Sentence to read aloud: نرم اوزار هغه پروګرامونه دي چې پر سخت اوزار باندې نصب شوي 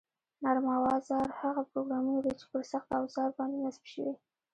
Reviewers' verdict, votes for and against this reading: rejected, 0, 2